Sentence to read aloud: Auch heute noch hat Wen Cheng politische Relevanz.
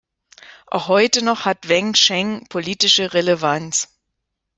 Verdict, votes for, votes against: accepted, 2, 0